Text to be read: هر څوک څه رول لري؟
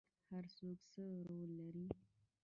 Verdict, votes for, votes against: accepted, 2, 1